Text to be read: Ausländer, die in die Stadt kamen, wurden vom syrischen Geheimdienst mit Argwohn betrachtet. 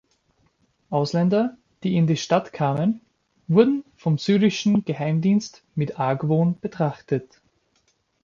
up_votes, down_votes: 2, 0